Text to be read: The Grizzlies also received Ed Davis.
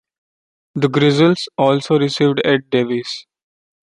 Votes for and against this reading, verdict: 2, 0, accepted